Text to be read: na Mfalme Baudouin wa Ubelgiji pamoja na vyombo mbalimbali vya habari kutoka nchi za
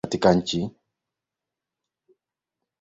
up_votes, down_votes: 2, 11